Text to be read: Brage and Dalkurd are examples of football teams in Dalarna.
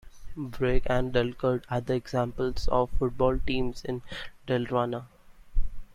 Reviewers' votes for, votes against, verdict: 2, 0, accepted